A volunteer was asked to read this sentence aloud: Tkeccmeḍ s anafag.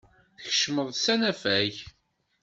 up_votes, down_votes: 2, 0